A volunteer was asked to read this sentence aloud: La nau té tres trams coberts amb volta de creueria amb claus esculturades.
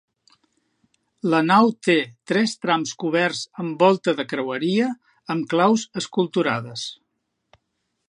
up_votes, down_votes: 6, 0